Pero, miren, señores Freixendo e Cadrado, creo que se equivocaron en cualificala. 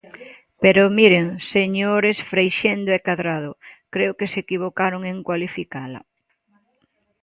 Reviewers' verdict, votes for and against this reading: rejected, 1, 2